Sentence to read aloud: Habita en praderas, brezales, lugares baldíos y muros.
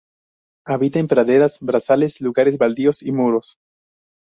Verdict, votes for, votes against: rejected, 0, 2